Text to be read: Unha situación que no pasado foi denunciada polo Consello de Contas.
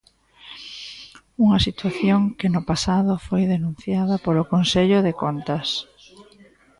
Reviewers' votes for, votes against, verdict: 2, 0, accepted